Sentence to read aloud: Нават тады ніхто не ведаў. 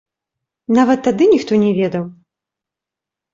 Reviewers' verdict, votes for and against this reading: rejected, 0, 3